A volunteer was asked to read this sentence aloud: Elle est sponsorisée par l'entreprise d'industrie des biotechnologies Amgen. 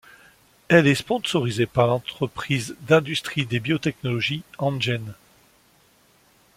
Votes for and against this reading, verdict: 1, 2, rejected